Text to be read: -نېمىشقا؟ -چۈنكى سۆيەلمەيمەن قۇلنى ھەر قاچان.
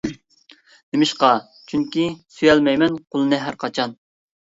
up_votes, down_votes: 2, 0